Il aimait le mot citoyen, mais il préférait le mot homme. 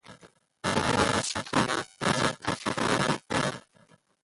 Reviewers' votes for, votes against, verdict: 0, 2, rejected